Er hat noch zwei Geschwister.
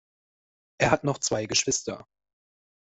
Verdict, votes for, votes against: accepted, 2, 0